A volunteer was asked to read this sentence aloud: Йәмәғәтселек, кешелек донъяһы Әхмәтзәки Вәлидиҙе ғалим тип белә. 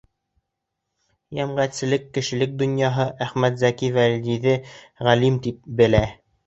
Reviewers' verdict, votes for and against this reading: rejected, 0, 2